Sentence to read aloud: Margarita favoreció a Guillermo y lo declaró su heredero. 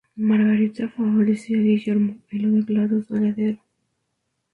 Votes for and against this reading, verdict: 0, 2, rejected